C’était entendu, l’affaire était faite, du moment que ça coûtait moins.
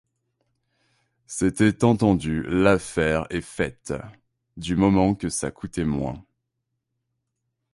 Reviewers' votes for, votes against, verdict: 1, 2, rejected